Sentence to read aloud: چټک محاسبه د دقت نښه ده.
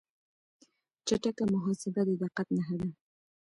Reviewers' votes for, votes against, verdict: 2, 1, accepted